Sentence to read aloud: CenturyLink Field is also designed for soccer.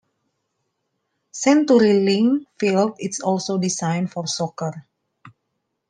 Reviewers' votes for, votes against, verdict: 2, 0, accepted